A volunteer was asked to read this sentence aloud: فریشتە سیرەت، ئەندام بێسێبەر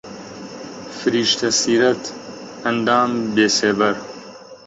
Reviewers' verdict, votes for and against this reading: rejected, 0, 2